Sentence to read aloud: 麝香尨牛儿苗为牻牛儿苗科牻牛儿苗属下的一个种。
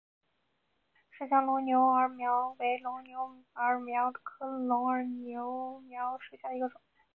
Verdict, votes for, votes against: rejected, 1, 2